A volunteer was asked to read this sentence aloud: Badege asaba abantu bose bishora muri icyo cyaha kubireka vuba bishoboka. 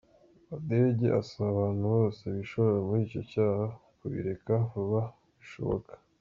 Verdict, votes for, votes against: rejected, 1, 2